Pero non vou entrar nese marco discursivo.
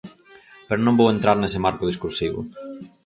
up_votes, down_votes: 4, 0